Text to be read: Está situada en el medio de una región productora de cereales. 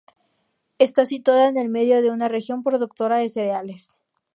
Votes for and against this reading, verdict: 4, 0, accepted